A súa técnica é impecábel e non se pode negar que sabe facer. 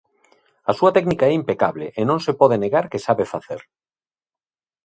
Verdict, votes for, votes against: rejected, 1, 2